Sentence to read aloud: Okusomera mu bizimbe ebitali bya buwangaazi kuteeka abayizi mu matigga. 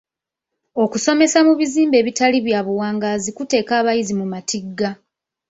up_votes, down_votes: 0, 2